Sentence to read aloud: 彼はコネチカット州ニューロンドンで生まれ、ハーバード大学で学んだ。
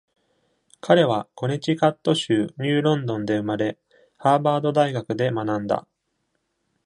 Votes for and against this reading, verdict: 2, 1, accepted